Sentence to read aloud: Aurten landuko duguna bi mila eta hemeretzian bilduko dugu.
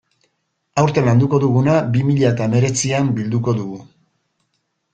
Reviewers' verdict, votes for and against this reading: accepted, 2, 0